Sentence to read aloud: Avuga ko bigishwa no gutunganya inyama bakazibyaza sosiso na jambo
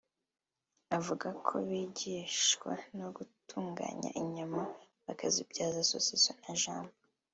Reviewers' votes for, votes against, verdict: 0, 2, rejected